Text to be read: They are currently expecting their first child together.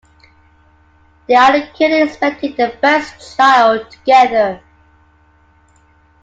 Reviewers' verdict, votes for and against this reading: accepted, 2, 1